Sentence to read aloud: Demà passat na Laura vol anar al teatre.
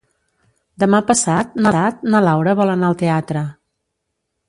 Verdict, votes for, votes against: rejected, 0, 2